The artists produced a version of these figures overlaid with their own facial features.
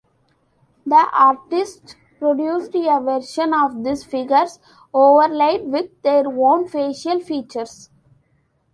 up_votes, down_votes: 1, 2